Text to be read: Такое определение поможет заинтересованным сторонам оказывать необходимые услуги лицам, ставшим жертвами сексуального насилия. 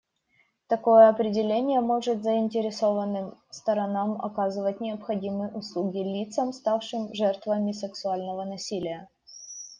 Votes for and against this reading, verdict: 0, 2, rejected